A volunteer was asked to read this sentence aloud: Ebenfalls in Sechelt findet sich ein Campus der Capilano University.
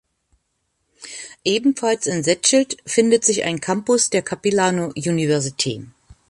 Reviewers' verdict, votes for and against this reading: rejected, 1, 2